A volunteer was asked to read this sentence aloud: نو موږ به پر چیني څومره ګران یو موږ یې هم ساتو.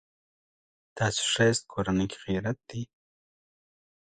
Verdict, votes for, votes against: rejected, 1, 2